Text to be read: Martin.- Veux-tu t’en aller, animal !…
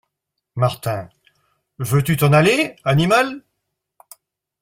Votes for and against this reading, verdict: 2, 0, accepted